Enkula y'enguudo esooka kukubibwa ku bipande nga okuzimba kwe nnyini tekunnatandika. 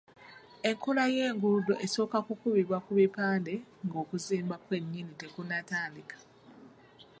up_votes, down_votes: 3, 1